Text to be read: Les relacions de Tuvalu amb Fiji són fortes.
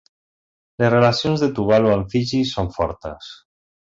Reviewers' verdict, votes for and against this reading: accepted, 2, 0